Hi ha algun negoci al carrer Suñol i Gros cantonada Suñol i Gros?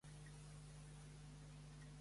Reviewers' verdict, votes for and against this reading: rejected, 1, 2